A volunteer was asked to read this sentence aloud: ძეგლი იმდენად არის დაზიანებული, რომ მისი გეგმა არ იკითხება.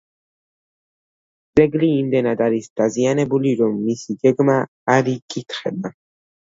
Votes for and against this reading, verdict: 2, 0, accepted